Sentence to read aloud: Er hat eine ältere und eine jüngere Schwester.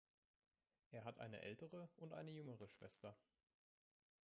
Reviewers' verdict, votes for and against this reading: rejected, 1, 2